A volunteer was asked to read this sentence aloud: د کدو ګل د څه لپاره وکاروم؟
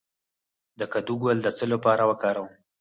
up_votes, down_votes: 4, 2